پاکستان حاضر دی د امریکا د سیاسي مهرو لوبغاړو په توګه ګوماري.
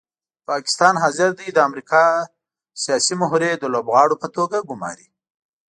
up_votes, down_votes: 1, 2